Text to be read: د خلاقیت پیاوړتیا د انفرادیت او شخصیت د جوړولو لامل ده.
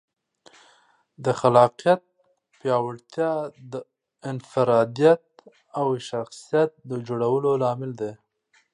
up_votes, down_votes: 2, 0